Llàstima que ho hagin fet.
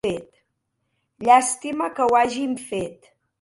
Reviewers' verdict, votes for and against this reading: rejected, 0, 2